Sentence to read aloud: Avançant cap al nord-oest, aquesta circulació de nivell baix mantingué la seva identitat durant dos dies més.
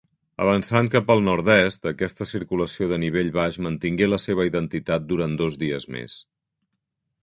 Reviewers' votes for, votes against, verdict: 0, 2, rejected